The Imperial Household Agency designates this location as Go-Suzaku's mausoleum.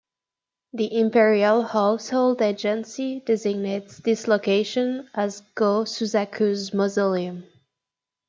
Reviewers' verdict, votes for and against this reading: rejected, 1, 2